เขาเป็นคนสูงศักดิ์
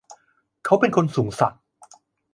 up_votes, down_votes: 2, 0